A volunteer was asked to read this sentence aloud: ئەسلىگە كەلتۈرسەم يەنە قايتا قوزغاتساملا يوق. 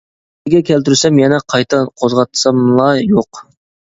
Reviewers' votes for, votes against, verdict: 0, 3, rejected